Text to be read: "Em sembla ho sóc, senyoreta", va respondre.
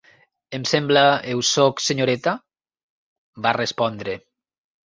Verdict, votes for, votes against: rejected, 1, 2